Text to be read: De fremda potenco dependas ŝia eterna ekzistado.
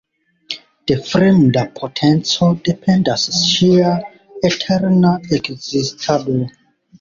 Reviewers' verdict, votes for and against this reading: rejected, 0, 2